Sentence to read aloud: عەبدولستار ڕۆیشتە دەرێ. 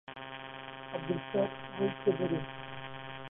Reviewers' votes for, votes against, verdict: 0, 2, rejected